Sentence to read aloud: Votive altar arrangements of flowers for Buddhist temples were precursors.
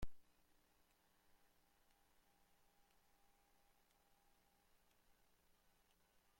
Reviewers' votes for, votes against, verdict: 0, 2, rejected